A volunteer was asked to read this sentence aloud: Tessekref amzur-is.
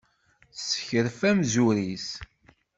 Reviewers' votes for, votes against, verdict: 2, 0, accepted